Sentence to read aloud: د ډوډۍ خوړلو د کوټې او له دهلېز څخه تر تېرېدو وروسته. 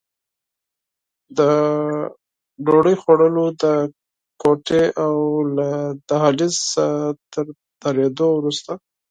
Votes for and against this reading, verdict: 2, 4, rejected